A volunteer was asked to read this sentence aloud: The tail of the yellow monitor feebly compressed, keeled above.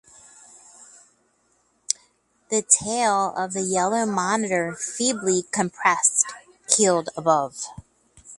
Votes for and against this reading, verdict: 4, 0, accepted